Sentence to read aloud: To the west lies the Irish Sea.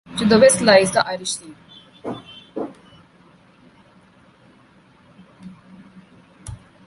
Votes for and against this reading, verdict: 2, 0, accepted